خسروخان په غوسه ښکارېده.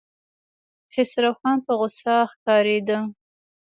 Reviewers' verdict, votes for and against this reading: accepted, 2, 0